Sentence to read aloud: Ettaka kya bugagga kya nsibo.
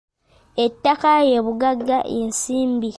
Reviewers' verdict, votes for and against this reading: rejected, 0, 2